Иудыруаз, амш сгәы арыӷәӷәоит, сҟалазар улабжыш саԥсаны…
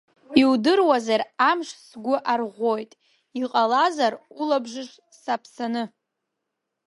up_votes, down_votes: 0, 2